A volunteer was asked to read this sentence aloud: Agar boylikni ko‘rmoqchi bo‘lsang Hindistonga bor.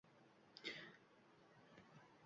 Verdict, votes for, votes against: rejected, 1, 2